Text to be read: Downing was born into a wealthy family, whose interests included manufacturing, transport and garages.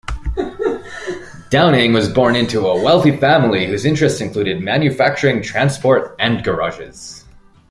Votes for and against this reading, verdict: 2, 0, accepted